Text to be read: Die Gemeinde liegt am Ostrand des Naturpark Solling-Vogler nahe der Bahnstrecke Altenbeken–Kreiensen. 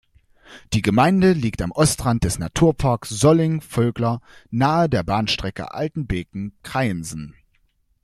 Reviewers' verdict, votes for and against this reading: accepted, 2, 0